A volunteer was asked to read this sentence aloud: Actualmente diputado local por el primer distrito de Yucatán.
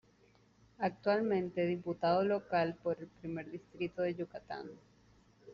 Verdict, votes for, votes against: rejected, 1, 2